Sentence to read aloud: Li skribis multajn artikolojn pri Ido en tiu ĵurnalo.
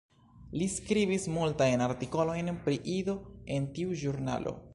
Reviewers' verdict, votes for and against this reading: accepted, 2, 0